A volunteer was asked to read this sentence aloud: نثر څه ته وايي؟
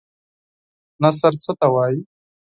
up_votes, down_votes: 4, 0